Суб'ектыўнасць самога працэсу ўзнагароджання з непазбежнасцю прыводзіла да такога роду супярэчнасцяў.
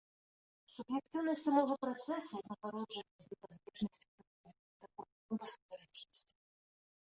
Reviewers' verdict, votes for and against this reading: rejected, 0, 3